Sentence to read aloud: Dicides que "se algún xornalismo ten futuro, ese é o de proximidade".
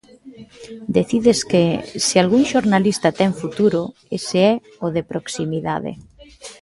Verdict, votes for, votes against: rejected, 0, 2